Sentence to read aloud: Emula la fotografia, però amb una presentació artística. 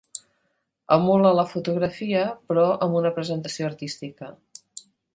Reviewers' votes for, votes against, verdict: 3, 0, accepted